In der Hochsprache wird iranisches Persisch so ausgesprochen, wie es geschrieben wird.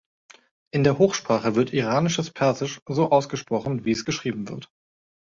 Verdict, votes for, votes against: accepted, 2, 0